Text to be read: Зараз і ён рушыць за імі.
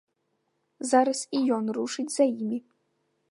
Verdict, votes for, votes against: accepted, 2, 0